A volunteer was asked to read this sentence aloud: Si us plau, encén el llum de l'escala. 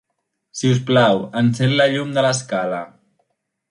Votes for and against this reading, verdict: 0, 2, rejected